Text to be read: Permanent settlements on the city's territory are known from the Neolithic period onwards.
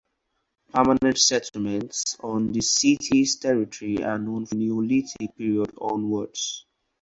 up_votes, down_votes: 2, 2